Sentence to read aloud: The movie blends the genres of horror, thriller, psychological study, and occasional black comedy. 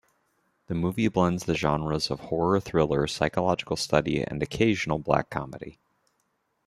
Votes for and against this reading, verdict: 2, 0, accepted